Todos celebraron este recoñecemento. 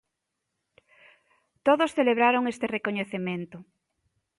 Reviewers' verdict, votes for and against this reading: accepted, 2, 0